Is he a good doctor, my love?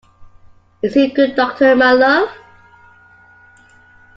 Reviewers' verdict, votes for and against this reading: accepted, 2, 1